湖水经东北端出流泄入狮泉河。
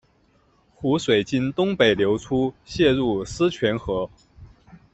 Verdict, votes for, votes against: rejected, 1, 2